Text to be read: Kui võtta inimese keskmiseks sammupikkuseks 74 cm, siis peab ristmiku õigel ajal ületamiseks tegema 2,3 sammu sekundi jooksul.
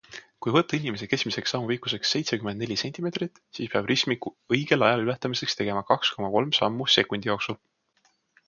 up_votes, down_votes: 0, 2